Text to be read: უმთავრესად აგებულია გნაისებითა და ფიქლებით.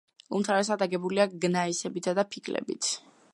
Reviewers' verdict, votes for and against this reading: rejected, 0, 2